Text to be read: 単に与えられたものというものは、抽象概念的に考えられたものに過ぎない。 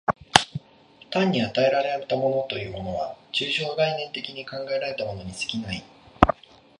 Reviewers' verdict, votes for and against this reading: accepted, 2, 0